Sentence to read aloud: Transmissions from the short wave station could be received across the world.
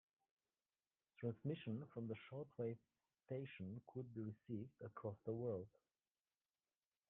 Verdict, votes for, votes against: accepted, 2, 1